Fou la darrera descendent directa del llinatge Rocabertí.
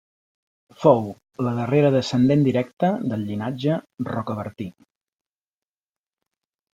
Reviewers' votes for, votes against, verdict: 2, 0, accepted